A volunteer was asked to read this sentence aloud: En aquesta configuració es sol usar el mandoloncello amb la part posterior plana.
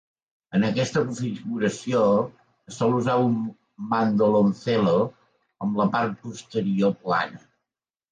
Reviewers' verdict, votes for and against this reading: accepted, 2, 0